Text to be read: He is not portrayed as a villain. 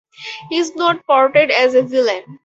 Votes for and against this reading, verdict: 2, 2, rejected